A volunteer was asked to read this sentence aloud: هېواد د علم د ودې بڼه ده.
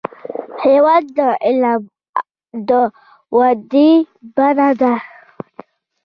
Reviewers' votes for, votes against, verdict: 2, 1, accepted